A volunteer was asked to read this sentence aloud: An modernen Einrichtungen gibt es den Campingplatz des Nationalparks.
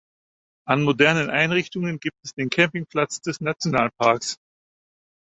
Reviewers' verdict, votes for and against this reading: accepted, 4, 0